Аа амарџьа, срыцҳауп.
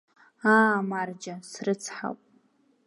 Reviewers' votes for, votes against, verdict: 2, 0, accepted